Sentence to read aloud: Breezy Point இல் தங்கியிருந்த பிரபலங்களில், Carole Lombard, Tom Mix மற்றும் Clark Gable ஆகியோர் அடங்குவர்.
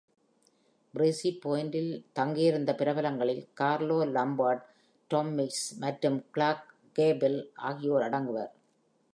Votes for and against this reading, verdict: 2, 0, accepted